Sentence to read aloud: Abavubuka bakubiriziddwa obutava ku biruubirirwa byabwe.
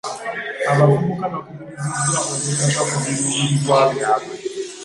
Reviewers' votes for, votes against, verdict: 1, 2, rejected